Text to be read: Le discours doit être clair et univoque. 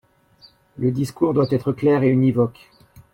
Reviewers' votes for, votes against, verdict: 2, 0, accepted